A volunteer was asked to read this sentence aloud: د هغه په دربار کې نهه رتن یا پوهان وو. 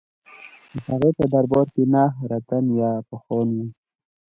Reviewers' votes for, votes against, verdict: 2, 1, accepted